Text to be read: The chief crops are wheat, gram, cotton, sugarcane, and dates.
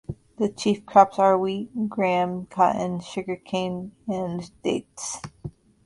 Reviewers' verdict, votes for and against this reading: accepted, 2, 0